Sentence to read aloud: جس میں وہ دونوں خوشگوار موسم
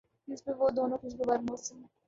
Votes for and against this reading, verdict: 1, 2, rejected